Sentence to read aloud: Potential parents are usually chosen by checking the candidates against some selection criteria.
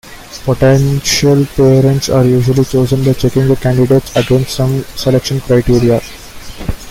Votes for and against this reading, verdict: 1, 2, rejected